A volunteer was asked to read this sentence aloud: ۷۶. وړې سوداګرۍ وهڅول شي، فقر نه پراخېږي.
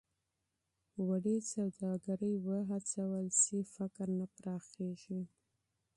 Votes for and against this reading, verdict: 0, 2, rejected